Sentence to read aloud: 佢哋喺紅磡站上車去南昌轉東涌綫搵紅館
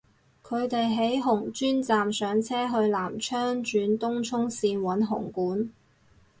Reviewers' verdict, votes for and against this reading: rejected, 0, 6